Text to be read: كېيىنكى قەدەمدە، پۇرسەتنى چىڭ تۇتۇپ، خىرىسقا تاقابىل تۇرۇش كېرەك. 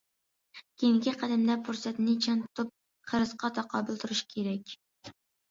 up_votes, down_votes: 1, 2